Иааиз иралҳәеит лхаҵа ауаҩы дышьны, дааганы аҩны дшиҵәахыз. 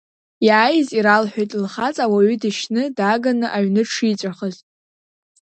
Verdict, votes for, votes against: accepted, 2, 0